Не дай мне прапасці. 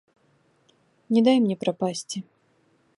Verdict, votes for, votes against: accepted, 2, 0